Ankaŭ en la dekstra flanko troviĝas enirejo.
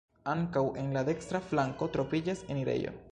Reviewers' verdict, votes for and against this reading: accepted, 2, 0